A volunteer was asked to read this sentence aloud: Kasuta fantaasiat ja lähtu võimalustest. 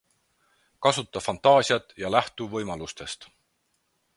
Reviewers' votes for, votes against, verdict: 4, 0, accepted